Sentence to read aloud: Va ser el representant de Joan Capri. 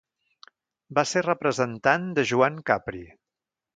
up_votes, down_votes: 1, 2